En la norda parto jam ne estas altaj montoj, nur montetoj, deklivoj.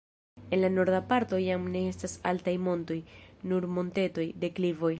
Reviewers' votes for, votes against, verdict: 1, 2, rejected